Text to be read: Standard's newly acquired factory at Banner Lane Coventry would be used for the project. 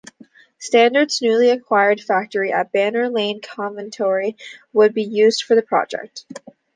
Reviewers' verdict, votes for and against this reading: rejected, 0, 2